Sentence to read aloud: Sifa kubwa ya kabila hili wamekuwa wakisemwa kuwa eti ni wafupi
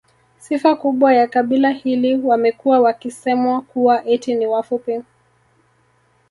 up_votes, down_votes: 0, 2